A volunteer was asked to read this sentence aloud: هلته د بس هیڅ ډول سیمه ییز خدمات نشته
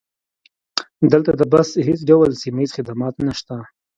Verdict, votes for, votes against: rejected, 0, 2